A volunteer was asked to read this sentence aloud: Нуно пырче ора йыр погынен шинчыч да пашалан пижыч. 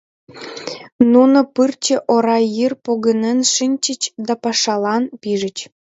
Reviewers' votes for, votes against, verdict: 2, 0, accepted